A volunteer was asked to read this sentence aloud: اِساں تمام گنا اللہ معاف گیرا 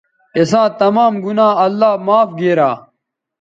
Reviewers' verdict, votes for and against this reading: accepted, 2, 0